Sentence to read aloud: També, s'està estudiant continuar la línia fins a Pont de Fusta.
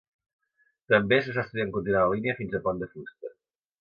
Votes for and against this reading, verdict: 2, 1, accepted